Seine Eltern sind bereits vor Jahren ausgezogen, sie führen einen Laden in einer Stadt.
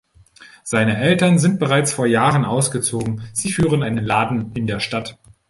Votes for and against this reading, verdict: 1, 2, rejected